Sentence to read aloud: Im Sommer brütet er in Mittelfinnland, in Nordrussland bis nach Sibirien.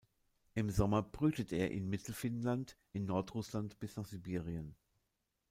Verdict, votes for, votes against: accepted, 2, 0